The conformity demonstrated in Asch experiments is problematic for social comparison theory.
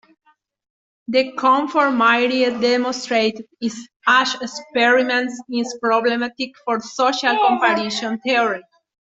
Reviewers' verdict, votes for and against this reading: rejected, 0, 2